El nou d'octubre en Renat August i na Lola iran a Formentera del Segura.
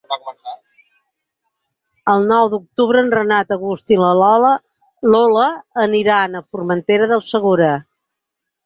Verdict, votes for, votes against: rejected, 0, 6